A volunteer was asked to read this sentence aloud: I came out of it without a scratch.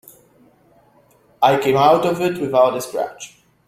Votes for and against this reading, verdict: 2, 0, accepted